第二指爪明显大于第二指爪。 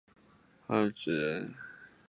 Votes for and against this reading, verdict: 2, 3, rejected